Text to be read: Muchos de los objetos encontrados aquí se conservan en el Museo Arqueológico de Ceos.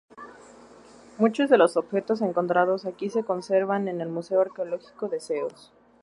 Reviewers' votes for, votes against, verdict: 2, 0, accepted